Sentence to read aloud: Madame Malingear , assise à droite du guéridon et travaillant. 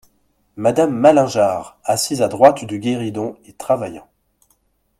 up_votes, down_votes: 2, 0